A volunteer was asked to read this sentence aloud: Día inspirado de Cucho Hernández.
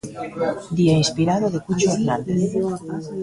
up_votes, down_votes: 2, 0